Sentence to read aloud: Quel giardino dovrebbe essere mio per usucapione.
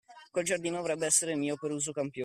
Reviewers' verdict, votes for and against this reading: accepted, 2, 1